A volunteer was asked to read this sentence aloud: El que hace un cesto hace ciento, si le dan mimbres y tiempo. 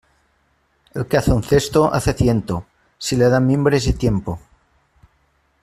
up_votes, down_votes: 2, 0